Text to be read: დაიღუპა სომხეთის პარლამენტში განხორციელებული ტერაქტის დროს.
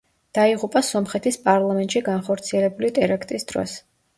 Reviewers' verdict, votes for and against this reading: rejected, 1, 2